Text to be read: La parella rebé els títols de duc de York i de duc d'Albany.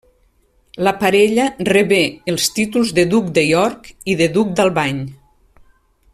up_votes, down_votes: 3, 0